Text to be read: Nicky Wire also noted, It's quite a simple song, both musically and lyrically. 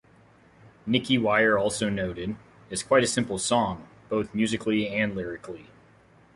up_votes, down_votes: 2, 0